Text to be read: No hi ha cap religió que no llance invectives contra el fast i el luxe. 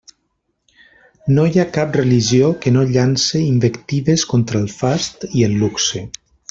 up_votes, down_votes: 2, 0